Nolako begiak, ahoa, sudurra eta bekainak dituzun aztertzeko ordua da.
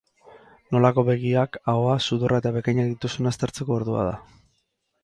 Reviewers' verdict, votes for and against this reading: accepted, 4, 0